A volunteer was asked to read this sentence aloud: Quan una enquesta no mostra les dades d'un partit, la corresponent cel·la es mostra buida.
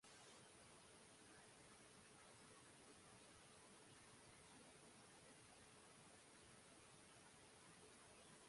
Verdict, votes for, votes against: rejected, 1, 2